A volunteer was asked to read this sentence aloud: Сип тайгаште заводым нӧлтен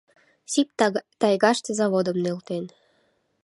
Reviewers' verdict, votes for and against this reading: rejected, 1, 2